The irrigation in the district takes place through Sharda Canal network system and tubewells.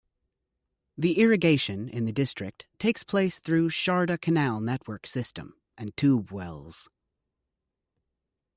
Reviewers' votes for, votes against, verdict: 2, 0, accepted